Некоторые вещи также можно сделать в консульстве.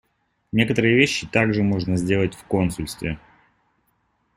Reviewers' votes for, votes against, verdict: 2, 0, accepted